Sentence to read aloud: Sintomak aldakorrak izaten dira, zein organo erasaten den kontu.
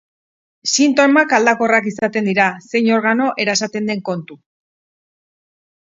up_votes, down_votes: 4, 0